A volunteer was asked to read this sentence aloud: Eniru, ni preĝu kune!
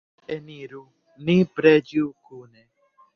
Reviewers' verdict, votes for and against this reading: rejected, 1, 2